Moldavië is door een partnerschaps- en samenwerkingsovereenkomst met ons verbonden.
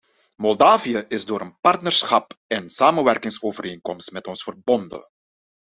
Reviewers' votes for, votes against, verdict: 0, 2, rejected